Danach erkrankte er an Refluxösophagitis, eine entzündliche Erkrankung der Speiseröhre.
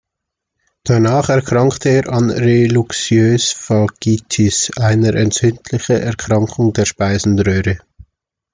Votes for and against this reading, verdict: 0, 2, rejected